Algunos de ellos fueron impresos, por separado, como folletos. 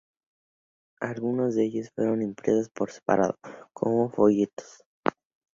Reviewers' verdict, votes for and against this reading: accepted, 2, 0